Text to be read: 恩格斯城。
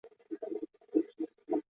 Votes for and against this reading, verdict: 0, 2, rejected